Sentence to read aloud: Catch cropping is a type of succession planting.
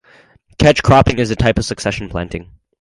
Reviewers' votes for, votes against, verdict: 2, 0, accepted